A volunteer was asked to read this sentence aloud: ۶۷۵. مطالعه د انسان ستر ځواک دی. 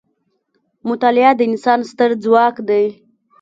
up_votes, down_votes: 0, 2